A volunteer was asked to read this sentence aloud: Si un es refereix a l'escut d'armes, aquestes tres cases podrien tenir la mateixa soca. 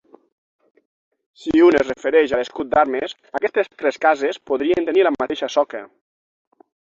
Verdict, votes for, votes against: accepted, 6, 0